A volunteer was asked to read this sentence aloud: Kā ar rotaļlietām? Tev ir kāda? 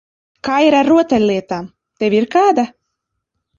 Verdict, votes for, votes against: rejected, 0, 2